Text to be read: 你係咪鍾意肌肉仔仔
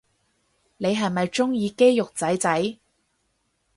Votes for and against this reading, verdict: 6, 0, accepted